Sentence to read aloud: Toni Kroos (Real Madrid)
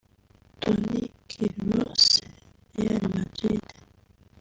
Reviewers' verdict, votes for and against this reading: rejected, 1, 2